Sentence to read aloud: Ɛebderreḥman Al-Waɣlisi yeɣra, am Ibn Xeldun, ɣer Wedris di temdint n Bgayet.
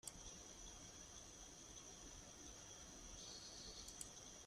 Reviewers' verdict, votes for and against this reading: rejected, 0, 2